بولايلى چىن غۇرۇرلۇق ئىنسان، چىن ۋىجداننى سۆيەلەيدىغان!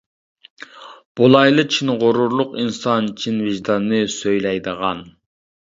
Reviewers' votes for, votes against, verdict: 0, 2, rejected